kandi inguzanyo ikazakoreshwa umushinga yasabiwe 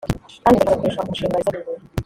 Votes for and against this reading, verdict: 0, 3, rejected